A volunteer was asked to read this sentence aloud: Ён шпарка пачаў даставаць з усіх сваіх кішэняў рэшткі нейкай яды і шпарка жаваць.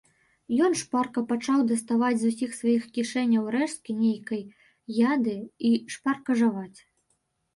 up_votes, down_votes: 0, 2